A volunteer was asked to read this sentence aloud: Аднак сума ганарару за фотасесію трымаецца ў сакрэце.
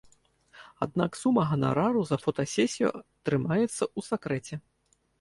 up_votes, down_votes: 2, 1